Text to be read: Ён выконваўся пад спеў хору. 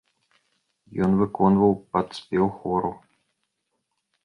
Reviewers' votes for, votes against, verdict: 1, 3, rejected